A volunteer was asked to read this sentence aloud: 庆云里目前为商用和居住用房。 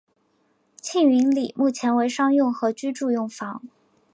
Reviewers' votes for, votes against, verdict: 4, 0, accepted